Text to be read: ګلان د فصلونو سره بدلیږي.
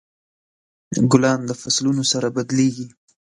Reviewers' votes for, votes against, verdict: 2, 0, accepted